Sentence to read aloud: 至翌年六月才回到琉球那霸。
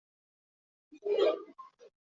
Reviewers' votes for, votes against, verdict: 0, 2, rejected